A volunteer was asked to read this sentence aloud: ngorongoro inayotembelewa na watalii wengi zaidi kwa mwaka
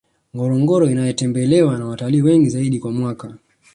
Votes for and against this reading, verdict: 2, 0, accepted